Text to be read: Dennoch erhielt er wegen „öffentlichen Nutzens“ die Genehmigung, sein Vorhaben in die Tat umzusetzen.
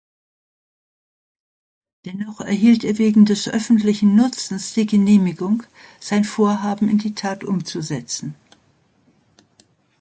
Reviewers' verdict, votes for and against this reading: rejected, 0, 2